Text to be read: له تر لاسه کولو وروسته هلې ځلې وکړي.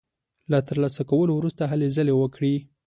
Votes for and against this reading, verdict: 2, 0, accepted